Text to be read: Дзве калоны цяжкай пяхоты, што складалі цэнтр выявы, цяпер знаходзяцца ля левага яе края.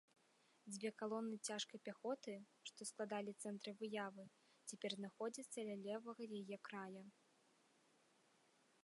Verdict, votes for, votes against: accepted, 2, 1